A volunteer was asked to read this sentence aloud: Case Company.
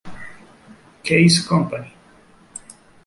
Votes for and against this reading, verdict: 3, 0, accepted